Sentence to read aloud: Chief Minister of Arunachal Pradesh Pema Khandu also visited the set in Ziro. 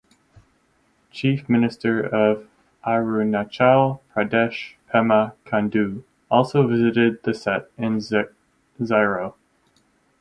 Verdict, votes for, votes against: rejected, 2, 4